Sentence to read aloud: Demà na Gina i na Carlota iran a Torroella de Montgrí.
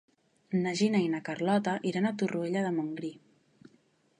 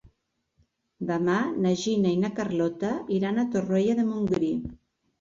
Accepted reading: second